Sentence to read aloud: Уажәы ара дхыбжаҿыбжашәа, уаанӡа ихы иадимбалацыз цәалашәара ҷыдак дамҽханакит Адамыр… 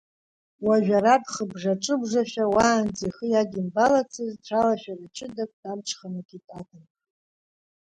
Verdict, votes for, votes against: rejected, 0, 2